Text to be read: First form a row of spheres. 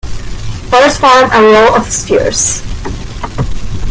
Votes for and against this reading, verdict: 2, 1, accepted